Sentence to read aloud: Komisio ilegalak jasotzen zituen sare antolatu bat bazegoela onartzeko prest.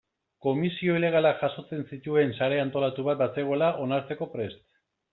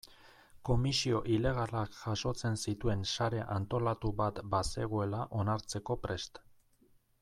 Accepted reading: first